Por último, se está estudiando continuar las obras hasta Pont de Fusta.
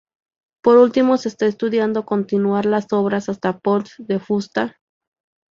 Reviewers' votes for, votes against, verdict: 2, 0, accepted